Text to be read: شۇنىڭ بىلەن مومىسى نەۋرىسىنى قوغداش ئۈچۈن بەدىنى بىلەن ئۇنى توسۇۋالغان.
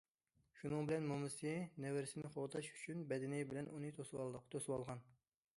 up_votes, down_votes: 0, 2